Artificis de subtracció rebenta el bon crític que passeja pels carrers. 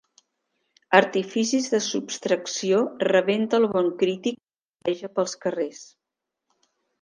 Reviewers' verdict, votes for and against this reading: rejected, 0, 2